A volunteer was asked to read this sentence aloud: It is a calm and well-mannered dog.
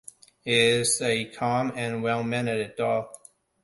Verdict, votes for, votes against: rejected, 0, 2